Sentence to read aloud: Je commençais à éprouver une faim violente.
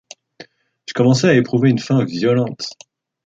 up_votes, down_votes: 2, 0